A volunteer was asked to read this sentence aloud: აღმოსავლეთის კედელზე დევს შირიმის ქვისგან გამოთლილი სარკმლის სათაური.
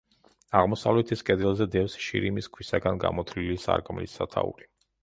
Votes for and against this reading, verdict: 1, 2, rejected